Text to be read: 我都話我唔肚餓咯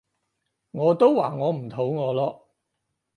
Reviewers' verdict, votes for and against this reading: accepted, 4, 0